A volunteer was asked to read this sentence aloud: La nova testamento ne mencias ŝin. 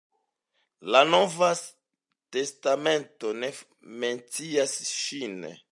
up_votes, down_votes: 0, 2